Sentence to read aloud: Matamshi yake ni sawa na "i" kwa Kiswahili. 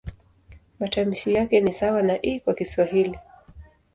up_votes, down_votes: 2, 0